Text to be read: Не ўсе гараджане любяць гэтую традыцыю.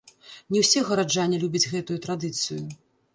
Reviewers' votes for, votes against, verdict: 0, 2, rejected